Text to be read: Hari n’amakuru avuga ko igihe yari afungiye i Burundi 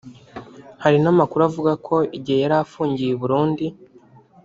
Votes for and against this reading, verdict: 2, 0, accepted